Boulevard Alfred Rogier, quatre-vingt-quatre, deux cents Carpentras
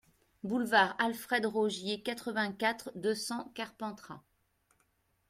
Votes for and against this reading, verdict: 2, 0, accepted